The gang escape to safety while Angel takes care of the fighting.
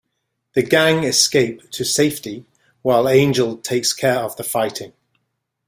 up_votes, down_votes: 2, 0